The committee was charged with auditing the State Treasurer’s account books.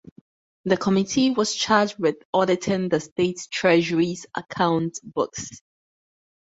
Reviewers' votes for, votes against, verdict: 0, 2, rejected